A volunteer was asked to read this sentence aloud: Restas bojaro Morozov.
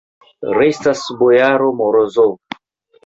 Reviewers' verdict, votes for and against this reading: accepted, 3, 0